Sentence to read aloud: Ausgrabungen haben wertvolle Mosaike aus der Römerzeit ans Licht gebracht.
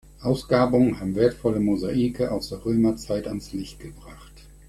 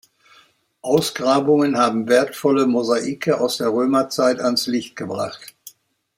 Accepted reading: second